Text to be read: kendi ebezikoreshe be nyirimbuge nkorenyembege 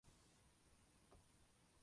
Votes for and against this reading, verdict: 0, 3, rejected